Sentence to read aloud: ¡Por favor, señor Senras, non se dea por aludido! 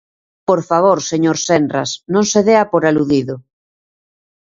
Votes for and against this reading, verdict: 2, 0, accepted